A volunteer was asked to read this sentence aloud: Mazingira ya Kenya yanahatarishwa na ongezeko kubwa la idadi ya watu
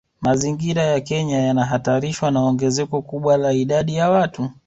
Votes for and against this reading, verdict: 3, 0, accepted